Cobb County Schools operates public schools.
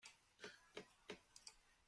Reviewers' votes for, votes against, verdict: 0, 2, rejected